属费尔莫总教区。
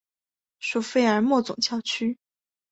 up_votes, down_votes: 5, 1